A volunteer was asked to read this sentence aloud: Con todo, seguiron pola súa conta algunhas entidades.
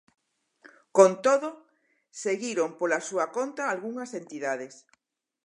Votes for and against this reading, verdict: 4, 0, accepted